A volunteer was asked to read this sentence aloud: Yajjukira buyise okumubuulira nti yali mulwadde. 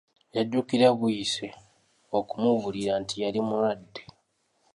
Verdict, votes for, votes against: accepted, 2, 0